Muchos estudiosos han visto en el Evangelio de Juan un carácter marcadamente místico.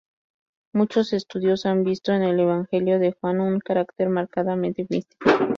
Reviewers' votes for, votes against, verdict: 2, 2, rejected